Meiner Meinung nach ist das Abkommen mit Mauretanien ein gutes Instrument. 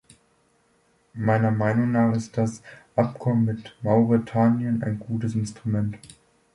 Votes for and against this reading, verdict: 2, 0, accepted